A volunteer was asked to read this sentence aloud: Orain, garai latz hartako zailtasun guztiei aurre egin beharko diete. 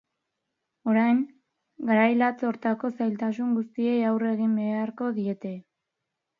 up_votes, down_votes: 2, 2